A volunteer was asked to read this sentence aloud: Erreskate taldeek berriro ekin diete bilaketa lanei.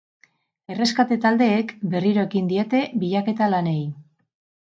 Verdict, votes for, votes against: accepted, 4, 0